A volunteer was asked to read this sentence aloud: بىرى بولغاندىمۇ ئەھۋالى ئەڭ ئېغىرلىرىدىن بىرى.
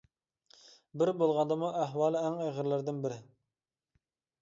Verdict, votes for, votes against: accepted, 2, 0